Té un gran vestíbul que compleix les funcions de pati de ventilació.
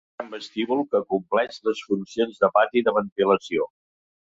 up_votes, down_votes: 0, 2